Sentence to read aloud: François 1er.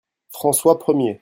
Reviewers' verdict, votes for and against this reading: rejected, 0, 2